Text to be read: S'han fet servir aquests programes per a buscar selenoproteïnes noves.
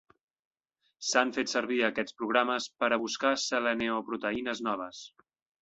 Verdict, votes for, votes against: rejected, 1, 2